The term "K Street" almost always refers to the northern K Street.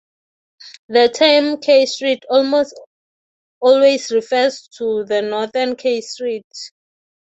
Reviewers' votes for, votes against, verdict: 0, 3, rejected